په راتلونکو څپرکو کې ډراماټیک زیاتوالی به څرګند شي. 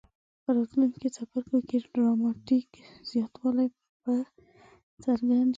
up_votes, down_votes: 0, 2